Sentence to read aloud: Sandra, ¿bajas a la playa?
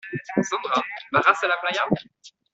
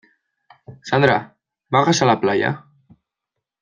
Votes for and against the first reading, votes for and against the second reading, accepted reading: 0, 2, 2, 0, second